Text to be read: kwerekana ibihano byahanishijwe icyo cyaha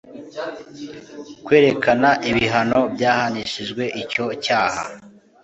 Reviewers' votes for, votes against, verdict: 2, 0, accepted